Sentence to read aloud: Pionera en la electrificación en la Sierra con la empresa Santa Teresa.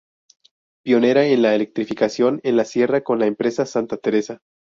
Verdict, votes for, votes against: accepted, 2, 0